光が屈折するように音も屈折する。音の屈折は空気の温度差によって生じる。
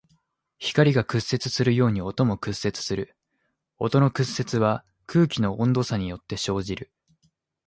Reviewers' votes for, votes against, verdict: 2, 0, accepted